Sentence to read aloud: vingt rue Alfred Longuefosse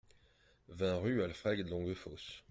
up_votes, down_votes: 2, 0